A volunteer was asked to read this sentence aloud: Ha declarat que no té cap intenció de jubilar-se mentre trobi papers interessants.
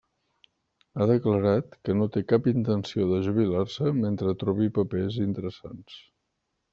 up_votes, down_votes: 0, 2